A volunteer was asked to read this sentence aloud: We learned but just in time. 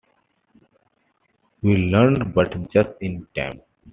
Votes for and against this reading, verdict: 2, 0, accepted